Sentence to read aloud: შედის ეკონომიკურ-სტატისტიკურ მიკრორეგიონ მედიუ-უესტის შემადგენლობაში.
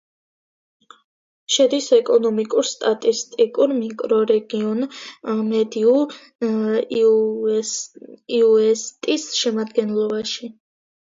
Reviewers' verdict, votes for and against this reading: rejected, 2, 3